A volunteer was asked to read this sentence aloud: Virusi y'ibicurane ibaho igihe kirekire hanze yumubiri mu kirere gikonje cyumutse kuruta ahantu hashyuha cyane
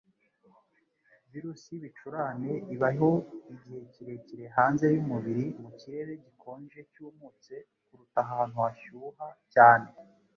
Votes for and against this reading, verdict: 1, 2, rejected